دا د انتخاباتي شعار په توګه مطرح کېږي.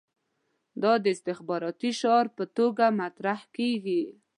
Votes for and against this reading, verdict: 2, 0, accepted